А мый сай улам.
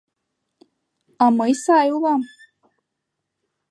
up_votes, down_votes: 2, 0